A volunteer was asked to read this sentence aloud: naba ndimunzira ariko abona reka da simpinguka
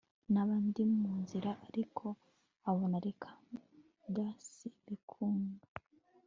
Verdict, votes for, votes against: rejected, 2, 3